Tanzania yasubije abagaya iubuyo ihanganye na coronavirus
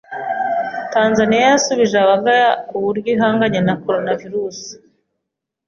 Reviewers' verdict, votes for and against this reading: accepted, 2, 0